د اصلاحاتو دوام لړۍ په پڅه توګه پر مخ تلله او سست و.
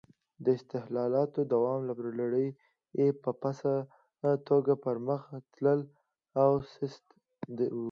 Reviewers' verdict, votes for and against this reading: accepted, 2, 0